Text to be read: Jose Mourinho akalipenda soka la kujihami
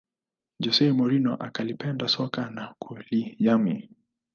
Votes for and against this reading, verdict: 2, 0, accepted